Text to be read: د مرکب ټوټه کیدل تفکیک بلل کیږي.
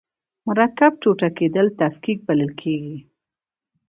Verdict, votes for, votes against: accepted, 2, 0